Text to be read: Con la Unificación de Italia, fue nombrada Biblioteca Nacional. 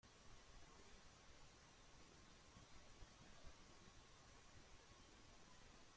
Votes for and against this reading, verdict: 0, 2, rejected